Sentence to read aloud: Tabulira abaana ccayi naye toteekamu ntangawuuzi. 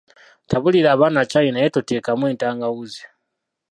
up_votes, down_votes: 1, 2